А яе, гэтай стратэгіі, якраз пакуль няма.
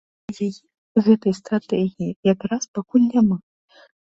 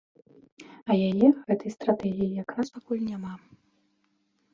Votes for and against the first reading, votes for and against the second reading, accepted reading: 1, 2, 2, 0, second